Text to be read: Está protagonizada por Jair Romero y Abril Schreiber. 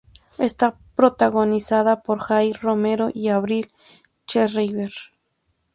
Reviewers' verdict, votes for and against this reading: rejected, 0, 2